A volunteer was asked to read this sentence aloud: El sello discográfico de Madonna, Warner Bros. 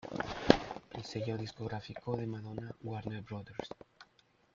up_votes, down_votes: 2, 0